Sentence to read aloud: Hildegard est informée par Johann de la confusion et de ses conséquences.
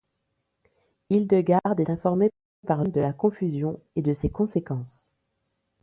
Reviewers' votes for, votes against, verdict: 1, 2, rejected